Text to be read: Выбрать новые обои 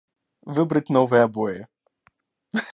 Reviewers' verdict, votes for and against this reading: rejected, 0, 2